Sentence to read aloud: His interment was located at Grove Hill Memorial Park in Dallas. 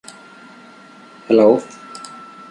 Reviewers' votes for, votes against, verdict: 0, 2, rejected